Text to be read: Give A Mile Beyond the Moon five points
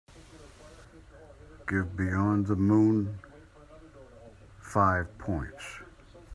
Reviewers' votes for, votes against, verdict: 0, 2, rejected